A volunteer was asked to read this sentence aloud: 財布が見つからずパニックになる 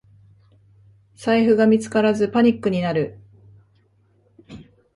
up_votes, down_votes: 3, 1